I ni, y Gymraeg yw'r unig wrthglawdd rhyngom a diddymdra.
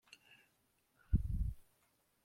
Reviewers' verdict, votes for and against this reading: rejected, 0, 2